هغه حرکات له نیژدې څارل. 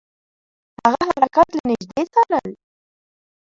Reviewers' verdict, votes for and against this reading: rejected, 0, 2